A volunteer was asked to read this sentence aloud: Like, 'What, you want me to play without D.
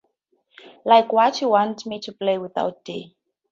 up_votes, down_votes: 2, 0